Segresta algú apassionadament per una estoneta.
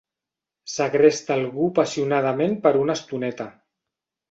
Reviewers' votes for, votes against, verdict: 1, 2, rejected